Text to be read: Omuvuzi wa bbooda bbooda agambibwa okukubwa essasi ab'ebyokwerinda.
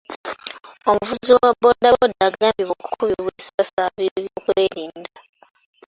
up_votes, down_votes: 0, 2